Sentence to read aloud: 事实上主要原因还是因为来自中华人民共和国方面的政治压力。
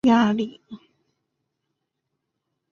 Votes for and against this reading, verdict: 0, 4, rejected